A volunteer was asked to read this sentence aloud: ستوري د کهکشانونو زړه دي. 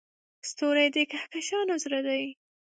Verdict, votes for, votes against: rejected, 2, 3